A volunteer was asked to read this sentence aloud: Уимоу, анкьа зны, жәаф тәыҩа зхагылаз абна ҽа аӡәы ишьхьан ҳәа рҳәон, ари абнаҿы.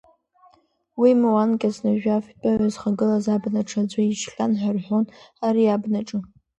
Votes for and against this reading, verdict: 0, 2, rejected